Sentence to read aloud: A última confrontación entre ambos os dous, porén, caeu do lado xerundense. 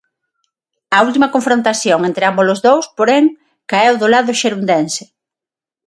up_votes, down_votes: 6, 0